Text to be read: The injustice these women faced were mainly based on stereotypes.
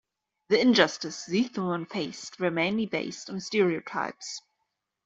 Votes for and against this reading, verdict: 0, 2, rejected